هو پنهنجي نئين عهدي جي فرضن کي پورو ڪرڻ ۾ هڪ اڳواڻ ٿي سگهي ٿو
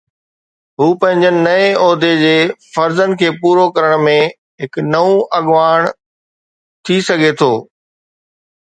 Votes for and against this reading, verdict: 2, 0, accepted